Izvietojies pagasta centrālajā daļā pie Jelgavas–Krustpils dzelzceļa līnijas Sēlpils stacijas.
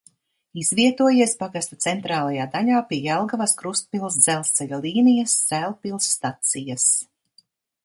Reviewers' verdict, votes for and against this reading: accepted, 2, 0